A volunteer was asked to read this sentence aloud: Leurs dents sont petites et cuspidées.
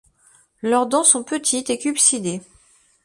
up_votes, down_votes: 1, 2